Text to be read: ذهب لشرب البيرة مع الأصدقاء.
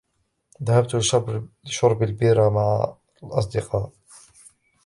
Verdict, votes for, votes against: rejected, 1, 3